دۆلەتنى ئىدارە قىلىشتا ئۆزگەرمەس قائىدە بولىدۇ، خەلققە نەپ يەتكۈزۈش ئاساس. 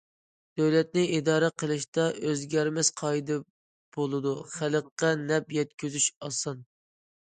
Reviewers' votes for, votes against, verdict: 1, 2, rejected